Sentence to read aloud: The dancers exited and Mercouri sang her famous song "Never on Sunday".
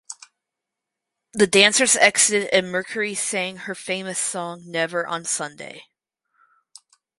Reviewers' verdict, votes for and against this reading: accepted, 2, 0